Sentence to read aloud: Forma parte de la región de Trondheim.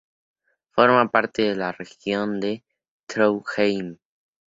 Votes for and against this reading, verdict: 2, 0, accepted